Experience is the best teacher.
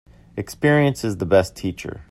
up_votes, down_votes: 2, 0